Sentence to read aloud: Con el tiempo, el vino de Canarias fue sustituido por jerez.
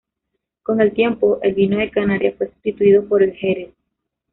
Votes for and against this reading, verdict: 1, 2, rejected